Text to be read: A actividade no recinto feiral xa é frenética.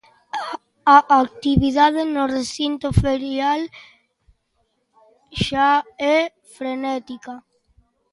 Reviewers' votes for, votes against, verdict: 0, 2, rejected